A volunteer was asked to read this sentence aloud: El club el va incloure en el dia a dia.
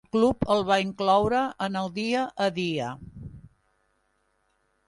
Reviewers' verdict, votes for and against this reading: rejected, 0, 2